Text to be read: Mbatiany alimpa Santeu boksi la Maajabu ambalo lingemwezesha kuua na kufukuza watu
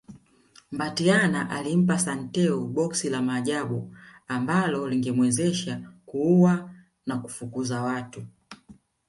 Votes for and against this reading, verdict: 2, 0, accepted